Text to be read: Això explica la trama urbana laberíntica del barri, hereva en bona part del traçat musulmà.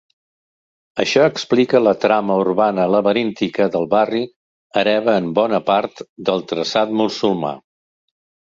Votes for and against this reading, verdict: 2, 0, accepted